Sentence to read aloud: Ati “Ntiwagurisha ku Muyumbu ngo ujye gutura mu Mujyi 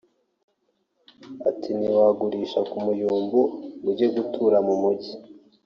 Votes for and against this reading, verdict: 2, 0, accepted